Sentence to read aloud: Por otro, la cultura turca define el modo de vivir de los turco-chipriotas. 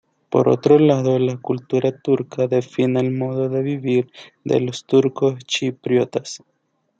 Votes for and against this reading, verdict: 1, 2, rejected